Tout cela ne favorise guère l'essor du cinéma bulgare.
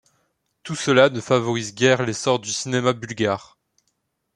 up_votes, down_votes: 2, 0